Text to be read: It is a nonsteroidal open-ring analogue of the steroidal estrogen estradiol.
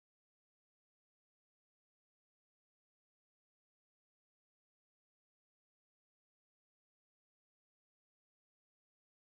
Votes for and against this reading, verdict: 1, 2, rejected